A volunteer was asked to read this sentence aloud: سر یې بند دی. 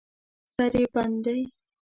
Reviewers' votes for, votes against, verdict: 1, 2, rejected